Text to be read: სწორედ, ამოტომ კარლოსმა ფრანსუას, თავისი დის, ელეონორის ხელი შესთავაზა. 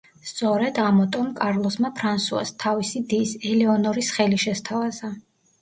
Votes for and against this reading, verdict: 2, 0, accepted